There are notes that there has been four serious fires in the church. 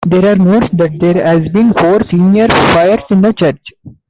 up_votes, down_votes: 0, 2